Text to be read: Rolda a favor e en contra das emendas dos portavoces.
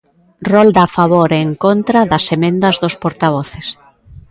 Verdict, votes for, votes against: accepted, 2, 0